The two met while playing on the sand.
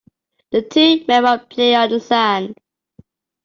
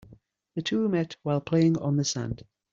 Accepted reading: second